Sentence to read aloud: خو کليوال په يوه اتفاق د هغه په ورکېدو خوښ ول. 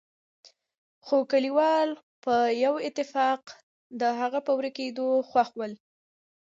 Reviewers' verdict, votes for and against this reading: accepted, 2, 0